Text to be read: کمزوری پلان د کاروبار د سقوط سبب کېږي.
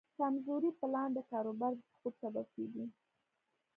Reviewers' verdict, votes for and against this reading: accepted, 2, 0